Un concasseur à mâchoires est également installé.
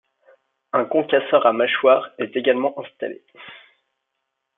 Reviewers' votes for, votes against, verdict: 2, 0, accepted